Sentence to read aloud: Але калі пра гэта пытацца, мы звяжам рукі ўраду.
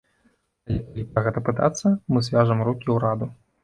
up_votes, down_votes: 0, 2